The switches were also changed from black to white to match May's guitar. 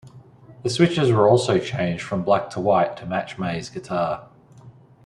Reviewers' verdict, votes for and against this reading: accepted, 2, 0